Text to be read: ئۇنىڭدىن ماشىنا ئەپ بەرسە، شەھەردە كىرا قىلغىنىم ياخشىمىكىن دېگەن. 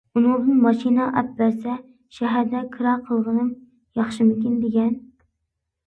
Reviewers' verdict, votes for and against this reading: accepted, 2, 0